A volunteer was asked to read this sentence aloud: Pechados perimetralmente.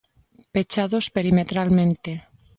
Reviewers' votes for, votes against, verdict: 2, 0, accepted